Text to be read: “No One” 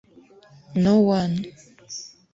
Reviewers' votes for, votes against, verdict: 1, 2, rejected